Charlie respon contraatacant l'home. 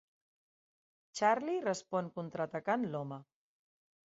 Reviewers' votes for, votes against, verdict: 2, 0, accepted